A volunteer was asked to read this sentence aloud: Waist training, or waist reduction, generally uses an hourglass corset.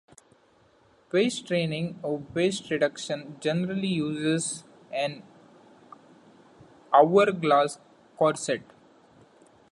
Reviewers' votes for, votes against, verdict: 2, 0, accepted